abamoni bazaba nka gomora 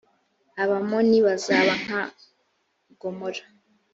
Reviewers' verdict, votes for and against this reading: accepted, 2, 0